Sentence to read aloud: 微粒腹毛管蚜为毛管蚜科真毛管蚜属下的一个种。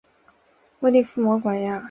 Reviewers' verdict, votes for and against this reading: rejected, 1, 2